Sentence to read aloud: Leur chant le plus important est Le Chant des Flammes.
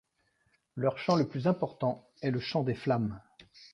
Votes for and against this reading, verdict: 2, 0, accepted